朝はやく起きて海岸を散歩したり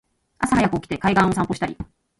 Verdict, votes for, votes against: rejected, 0, 2